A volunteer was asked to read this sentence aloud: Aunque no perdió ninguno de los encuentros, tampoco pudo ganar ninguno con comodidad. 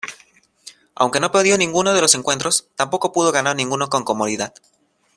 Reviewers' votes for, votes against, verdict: 2, 0, accepted